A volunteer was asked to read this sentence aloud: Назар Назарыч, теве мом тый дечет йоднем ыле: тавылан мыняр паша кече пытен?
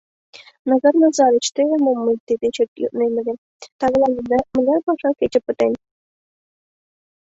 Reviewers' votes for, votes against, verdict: 0, 2, rejected